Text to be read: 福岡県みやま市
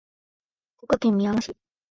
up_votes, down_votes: 1, 2